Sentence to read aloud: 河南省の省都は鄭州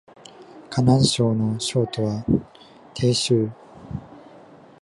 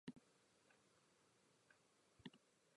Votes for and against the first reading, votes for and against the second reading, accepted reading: 2, 0, 0, 3, first